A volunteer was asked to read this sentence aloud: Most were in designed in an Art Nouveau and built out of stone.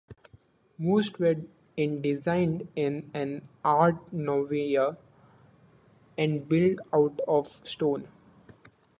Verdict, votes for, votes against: accepted, 2, 0